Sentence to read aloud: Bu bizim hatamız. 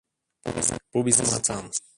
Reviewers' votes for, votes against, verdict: 0, 2, rejected